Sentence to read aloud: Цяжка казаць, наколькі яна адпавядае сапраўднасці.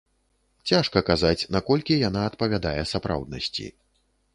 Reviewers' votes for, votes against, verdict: 2, 0, accepted